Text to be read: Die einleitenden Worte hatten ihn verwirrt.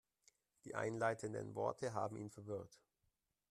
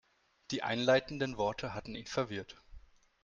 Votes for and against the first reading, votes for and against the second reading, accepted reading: 0, 2, 3, 0, second